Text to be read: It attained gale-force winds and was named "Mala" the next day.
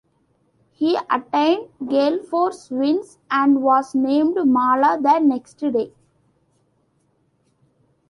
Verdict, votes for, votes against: rejected, 1, 2